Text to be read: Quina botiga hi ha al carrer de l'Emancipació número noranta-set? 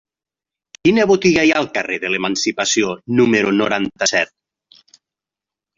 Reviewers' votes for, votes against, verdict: 3, 0, accepted